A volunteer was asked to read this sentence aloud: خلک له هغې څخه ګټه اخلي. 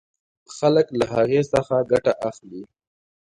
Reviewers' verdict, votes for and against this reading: accepted, 2, 0